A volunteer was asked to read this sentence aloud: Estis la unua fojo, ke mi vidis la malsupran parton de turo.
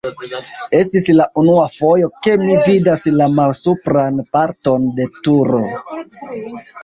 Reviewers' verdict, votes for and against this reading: rejected, 0, 2